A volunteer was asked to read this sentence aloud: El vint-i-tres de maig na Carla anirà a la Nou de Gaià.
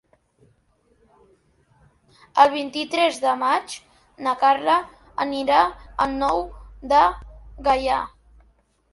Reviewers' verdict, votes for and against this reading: rejected, 2, 3